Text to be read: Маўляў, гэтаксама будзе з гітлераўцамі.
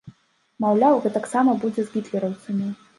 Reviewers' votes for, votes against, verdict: 2, 0, accepted